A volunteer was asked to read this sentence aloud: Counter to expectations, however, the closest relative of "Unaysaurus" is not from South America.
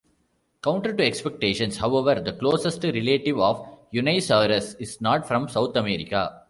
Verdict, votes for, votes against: accepted, 2, 0